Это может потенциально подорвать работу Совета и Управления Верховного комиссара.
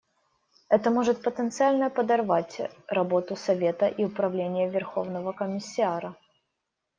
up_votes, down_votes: 0, 2